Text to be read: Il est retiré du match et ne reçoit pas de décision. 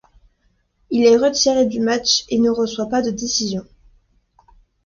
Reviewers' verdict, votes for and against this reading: accepted, 2, 0